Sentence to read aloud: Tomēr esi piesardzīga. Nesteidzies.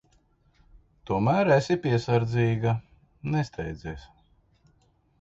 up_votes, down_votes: 2, 0